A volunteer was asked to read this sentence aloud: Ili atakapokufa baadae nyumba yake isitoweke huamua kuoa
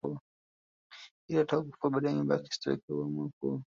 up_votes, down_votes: 1, 2